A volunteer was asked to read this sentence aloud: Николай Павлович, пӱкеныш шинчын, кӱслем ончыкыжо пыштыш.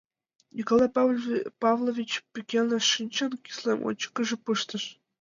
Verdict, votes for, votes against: rejected, 0, 2